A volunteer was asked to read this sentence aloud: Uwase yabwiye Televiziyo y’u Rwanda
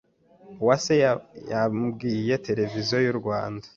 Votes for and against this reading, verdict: 1, 2, rejected